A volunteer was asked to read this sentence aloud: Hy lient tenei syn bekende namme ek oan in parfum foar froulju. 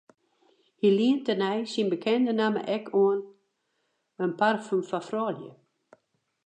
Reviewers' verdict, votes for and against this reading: accepted, 4, 0